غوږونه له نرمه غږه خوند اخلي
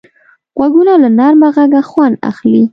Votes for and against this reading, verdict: 2, 0, accepted